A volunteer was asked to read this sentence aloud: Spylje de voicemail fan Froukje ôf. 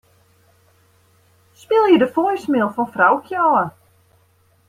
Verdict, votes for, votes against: rejected, 1, 2